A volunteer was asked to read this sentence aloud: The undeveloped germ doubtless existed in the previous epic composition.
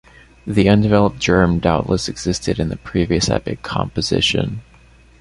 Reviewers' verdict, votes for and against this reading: accepted, 2, 0